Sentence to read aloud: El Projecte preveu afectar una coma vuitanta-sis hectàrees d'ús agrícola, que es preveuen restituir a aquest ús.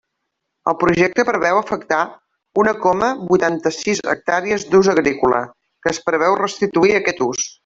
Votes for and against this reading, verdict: 0, 2, rejected